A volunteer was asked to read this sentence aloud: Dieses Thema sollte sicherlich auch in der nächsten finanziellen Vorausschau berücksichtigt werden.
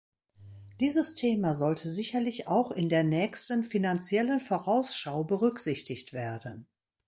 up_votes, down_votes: 3, 0